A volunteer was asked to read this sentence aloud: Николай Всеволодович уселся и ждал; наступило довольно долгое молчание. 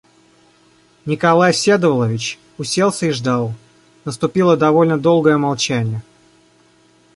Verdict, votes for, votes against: rejected, 1, 2